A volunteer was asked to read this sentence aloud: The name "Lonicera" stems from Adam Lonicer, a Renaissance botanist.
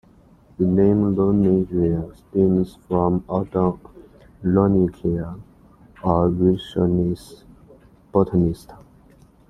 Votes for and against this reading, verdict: 0, 2, rejected